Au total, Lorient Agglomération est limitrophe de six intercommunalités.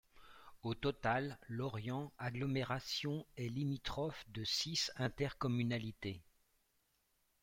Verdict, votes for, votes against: rejected, 0, 2